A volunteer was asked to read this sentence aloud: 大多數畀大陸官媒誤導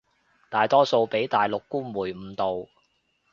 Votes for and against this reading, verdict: 2, 0, accepted